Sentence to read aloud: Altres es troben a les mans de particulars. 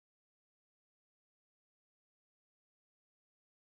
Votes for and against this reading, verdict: 0, 2, rejected